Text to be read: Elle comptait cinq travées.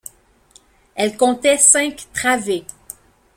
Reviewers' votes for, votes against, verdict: 2, 0, accepted